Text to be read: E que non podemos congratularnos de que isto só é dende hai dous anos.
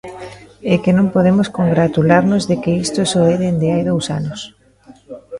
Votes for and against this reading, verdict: 0, 2, rejected